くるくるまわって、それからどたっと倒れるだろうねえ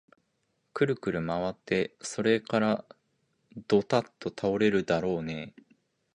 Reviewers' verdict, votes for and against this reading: accepted, 2, 0